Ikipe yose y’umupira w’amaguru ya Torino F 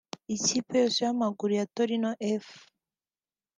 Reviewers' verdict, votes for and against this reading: rejected, 0, 2